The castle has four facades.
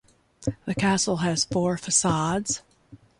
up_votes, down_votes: 2, 0